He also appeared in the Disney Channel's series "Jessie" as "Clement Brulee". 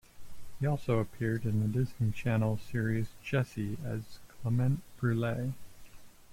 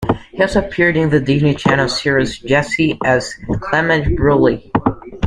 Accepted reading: first